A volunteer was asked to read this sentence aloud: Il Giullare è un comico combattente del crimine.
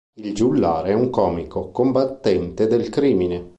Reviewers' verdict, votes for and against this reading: accepted, 2, 0